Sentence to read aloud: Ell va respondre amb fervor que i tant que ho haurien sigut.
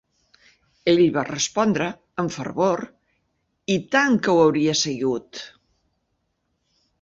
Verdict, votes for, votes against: rejected, 0, 2